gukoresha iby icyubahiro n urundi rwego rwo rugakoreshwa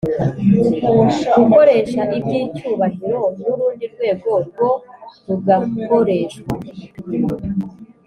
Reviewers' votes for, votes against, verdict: 2, 1, accepted